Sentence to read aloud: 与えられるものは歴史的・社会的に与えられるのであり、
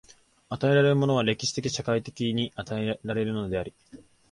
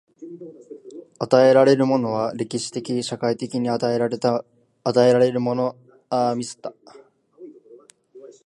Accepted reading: first